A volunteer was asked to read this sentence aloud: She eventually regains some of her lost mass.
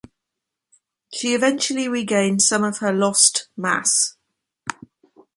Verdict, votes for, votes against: accepted, 2, 0